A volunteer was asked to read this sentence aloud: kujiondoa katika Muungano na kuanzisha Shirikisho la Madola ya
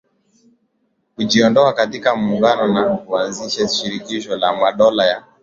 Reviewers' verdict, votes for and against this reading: accepted, 11, 1